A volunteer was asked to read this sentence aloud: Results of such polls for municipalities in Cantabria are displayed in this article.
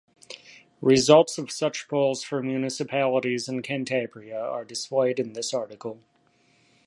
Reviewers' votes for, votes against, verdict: 2, 0, accepted